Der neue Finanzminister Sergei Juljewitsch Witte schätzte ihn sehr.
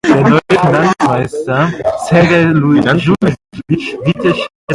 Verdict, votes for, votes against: rejected, 0, 2